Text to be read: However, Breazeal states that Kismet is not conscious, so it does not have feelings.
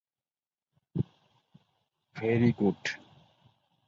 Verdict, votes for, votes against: rejected, 0, 7